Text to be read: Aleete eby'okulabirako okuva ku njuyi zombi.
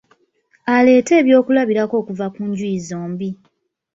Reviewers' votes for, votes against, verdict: 2, 1, accepted